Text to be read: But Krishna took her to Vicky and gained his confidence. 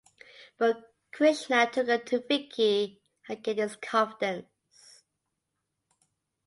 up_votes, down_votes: 2, 0